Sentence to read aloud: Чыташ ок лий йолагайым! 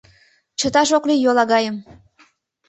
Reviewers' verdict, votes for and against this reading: accepted, 2, 0